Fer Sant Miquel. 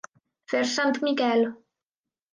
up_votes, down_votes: 1, 2